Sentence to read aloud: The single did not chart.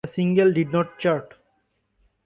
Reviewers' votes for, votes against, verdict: 2, 0, accepted